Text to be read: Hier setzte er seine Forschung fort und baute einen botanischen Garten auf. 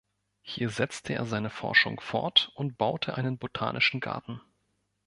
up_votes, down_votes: 0, 2